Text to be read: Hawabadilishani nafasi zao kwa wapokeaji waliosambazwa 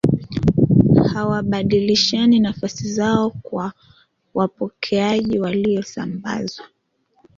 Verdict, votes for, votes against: rejected, 1, 2